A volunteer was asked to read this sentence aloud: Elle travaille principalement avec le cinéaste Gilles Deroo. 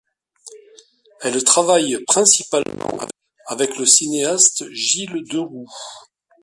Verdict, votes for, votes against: rejected, 1, 2